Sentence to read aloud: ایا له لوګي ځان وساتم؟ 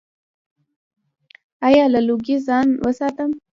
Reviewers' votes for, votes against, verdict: 1, 2, rejected